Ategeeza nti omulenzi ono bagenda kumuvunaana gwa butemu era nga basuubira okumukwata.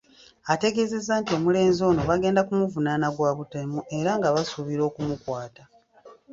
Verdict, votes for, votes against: accepted, 3, 0